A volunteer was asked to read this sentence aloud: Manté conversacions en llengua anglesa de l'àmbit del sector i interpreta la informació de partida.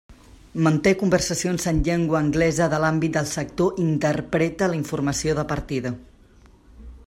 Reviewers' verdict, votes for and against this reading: accepted, 2, 0